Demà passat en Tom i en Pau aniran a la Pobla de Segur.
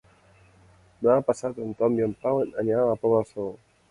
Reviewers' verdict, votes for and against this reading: rejected, 1, 2